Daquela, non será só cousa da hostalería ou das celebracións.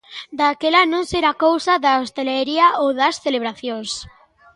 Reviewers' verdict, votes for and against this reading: rejected, 0, 2